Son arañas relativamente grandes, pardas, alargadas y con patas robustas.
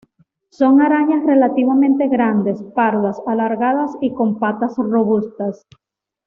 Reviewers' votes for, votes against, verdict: 2, 0, accepted